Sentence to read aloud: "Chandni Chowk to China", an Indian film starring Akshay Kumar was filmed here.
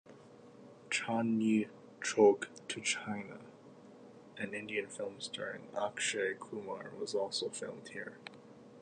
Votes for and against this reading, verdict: 1, 2, rejected